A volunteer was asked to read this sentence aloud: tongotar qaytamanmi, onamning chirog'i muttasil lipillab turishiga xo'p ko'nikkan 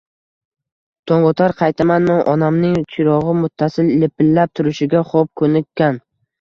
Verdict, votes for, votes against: rejected, 0, 2